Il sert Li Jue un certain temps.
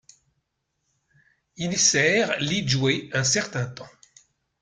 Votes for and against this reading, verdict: 2, 1, accepted